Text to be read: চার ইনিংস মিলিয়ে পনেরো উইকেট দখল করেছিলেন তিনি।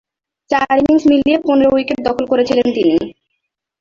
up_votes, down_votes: 2, 0